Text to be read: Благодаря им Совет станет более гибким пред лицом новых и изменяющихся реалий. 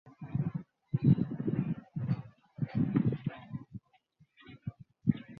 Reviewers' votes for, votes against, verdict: 0, 2, rejected